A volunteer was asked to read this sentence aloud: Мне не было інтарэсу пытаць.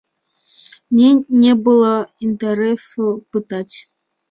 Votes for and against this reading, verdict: 1, 2, rejected